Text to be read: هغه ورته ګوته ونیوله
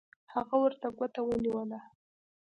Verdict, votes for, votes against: accepted, 2, 0